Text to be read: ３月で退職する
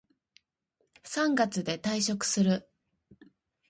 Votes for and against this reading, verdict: 0, 2, rejected